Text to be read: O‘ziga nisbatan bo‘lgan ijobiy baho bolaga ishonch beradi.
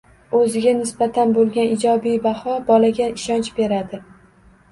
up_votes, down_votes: 2, 0